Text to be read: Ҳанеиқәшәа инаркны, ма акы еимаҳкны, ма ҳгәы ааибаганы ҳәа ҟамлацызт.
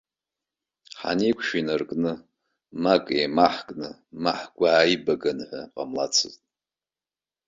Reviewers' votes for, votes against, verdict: 2, 0, accepted